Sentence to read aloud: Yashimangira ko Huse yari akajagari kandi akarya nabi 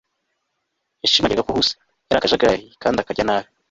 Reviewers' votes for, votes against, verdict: 2, 0, accepted